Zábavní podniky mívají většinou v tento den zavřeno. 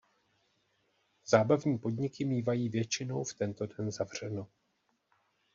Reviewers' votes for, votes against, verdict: 0, 2, rejected